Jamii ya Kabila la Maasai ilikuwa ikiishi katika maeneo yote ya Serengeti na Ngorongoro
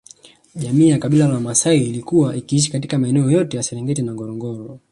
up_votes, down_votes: 2, 1